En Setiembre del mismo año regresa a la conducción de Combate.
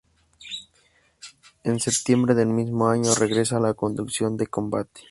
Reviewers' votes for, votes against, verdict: 2, 0, accepted